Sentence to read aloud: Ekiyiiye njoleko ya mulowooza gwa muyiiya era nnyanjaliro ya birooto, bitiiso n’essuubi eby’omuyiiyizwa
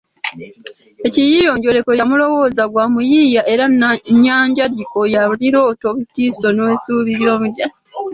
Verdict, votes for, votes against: rejected, 1, 2